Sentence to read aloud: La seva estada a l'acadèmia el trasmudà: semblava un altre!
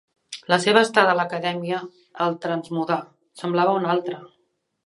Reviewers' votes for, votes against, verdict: 0, 2, rejected